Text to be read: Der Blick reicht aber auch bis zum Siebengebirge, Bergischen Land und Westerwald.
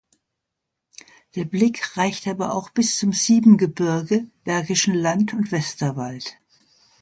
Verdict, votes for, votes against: accepted, 2, 0